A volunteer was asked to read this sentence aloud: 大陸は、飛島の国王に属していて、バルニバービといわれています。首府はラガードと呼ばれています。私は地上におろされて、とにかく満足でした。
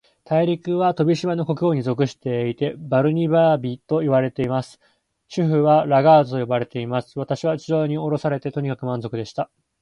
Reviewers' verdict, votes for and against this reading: accepted, 2, 1